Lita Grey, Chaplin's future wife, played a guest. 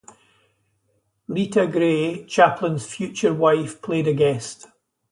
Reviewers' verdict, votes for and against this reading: accepted, 2, 0